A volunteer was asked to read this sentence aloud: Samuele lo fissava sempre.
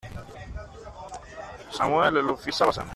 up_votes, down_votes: 0, 2